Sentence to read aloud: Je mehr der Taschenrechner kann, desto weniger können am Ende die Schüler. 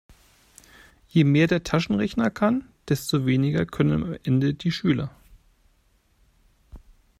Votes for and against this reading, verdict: 1, 2, rejected